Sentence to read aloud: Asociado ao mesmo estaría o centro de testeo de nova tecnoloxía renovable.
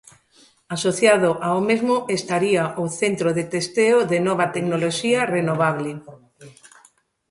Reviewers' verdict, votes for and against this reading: accepted, 2, 0